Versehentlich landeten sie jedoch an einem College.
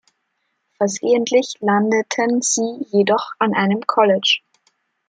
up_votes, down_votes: 2, 0